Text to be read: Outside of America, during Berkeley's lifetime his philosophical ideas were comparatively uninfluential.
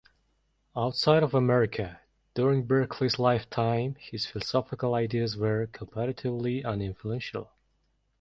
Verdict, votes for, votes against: accepted, 2, 0